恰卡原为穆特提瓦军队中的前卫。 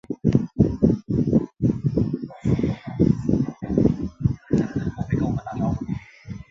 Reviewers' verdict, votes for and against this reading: rejected, 1, 2